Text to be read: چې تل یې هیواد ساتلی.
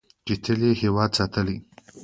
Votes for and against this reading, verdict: 3, 2, accepted